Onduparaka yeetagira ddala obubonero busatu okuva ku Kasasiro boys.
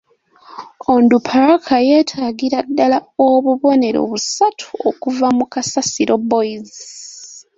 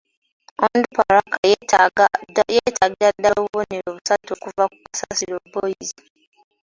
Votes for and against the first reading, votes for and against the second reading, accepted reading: 3, 0, 0, 2, first